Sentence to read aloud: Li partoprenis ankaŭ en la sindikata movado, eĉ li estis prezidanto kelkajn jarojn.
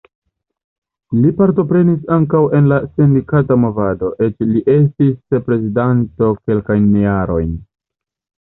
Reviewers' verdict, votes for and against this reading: rejected, 1, 2